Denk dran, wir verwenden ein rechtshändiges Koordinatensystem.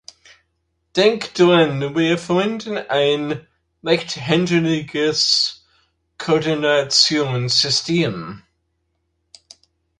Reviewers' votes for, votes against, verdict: 0, 2, rejected